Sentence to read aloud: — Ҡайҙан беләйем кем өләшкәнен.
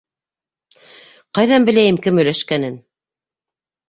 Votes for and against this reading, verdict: 2, 0, accepted